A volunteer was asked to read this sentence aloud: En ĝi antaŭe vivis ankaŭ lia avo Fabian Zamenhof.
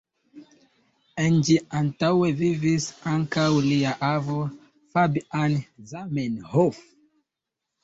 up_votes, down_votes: 2, 1